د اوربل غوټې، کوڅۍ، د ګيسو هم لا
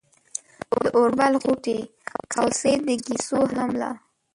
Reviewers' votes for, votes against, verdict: 1, 2, rejected